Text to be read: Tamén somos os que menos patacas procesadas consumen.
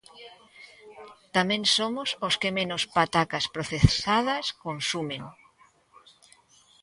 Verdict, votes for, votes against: accepted, 2, 0